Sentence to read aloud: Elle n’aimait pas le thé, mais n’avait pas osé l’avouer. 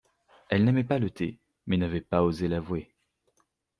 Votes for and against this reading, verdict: 2, 0, accepted